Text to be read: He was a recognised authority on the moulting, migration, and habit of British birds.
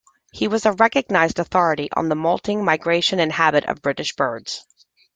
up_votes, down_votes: 2, 0